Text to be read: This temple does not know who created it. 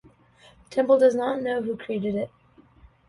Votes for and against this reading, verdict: 0, 2, rejected